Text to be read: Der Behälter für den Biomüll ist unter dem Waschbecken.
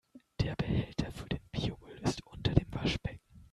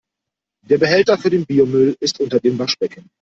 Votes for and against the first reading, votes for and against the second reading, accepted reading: 1, 2, 2, 1, second